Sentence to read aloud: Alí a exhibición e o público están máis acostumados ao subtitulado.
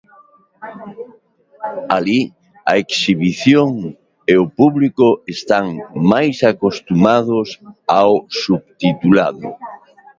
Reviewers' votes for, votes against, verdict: 2, 1, accepted